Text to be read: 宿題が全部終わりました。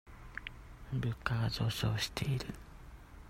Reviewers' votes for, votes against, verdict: 0, 2, rejected